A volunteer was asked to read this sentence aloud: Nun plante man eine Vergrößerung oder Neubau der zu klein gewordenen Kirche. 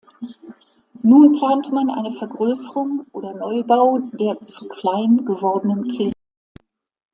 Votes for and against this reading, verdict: 0, 2, rejected